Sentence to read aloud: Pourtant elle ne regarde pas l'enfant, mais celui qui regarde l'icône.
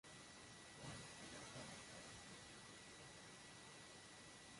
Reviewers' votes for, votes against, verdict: 0, 2, rejected